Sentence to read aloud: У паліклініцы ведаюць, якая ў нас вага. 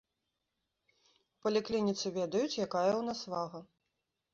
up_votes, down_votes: 1, 2